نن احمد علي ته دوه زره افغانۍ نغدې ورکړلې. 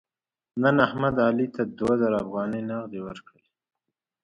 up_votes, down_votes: 2, 0